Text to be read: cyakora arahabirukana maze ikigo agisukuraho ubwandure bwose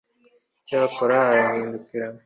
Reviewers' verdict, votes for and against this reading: rejected, 1, 2